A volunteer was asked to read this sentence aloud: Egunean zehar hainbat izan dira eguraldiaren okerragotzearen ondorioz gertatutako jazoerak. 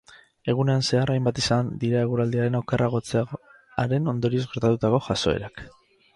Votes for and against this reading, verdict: 2, 4, rejected